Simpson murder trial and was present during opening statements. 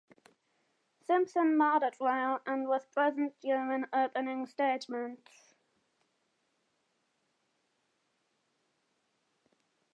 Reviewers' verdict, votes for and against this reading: rejected, 1, 2